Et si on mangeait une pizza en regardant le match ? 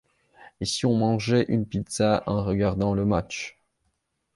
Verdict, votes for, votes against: accepted, 2, 0